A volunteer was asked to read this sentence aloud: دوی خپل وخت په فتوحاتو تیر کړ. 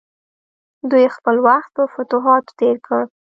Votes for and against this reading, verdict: 2, 0, accepted